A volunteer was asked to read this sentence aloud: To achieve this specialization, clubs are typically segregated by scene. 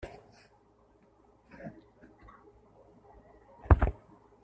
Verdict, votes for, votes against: rejected, 0, 3